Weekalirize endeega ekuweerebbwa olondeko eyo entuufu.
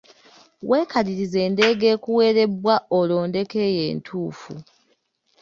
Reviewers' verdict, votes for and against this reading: accepted, 2, 0